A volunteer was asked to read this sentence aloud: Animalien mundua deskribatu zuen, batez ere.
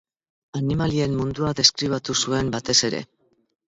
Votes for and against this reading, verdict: 2, 0, accepted